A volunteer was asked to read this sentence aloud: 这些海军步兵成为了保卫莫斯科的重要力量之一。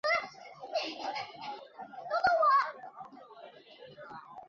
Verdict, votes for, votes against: rejected, 0, 2